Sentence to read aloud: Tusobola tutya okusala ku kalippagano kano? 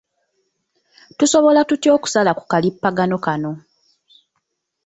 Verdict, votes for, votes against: accepted, 2, 0